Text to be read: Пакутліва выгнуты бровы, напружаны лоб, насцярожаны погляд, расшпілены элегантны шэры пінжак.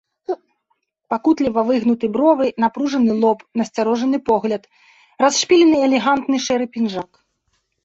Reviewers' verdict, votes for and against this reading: rejected, 1, 2